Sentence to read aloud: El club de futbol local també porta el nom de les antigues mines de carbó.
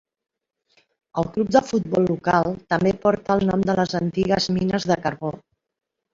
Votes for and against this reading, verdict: 4, 0, accepted